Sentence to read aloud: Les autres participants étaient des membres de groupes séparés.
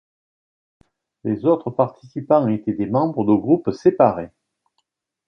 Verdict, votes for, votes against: accepted, 2, 0